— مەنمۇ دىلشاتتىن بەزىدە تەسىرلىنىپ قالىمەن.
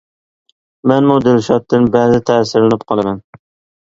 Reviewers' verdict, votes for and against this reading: accepted, 2, 0